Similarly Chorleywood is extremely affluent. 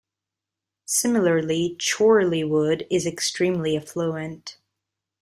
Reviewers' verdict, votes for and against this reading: rejected, 0, 2